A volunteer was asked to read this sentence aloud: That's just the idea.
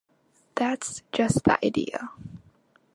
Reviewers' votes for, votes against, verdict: 3, 0, accepted